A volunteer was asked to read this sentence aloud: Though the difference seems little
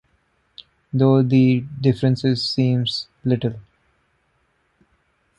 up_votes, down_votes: 0, 2